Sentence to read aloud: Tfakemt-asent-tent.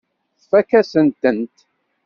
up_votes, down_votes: 1, 2